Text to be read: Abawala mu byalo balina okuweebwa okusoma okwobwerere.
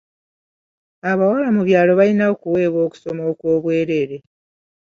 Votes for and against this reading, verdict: 2, 0, accepted